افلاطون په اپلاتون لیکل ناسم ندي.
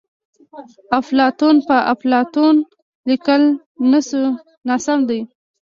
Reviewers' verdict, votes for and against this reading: rejected, 0, 2